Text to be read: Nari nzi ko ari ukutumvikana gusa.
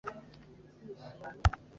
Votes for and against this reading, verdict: 1, 2, rejected